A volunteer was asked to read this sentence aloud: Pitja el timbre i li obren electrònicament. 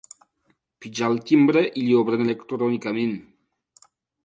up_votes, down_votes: 2, 0